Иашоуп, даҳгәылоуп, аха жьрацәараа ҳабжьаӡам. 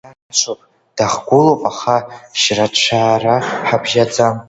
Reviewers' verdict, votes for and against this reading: rejected, 1, 2